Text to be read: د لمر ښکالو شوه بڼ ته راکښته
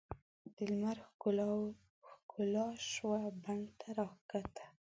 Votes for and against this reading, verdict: 1, 2, rejected